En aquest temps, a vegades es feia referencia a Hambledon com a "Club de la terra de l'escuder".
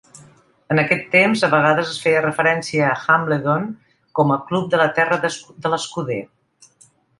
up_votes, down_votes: 0, 2